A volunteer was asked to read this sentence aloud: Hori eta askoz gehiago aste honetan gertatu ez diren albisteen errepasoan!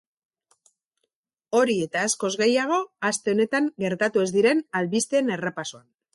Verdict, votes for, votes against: accepted, 4, 0